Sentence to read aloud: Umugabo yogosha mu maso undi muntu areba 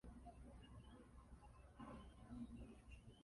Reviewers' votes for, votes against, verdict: 0, 2, rejected